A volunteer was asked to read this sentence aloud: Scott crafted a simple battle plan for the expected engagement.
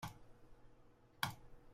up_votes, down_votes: 0, 2